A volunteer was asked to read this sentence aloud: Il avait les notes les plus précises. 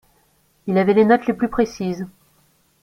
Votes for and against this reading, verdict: 2, 0, accepted